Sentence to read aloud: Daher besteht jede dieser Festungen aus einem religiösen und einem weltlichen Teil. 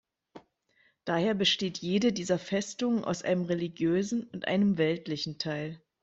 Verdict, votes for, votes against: accepted, 2, 0